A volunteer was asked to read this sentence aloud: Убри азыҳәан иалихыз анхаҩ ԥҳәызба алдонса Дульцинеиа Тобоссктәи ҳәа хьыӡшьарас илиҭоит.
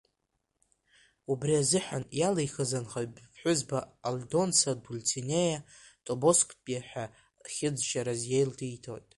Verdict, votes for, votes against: rejected, 0, 2